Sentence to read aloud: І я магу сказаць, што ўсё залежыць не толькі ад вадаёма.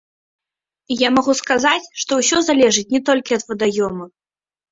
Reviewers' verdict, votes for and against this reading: rejected, 1, 2